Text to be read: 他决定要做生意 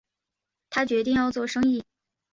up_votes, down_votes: 4, 0